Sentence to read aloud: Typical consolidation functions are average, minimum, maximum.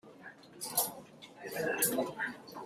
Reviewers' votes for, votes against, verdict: 0, 2, rejected